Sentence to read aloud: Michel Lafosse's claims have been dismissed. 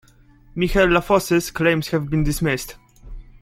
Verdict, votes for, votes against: accepted, 2, 0